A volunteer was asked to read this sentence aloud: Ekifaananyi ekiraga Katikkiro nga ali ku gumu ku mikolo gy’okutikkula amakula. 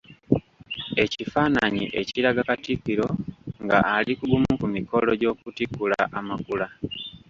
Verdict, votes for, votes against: accepted, 2, 0